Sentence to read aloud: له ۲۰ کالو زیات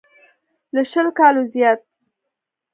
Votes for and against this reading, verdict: 0, 2, rejected